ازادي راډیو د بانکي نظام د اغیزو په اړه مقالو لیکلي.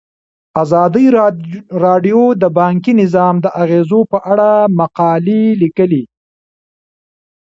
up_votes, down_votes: 2, 1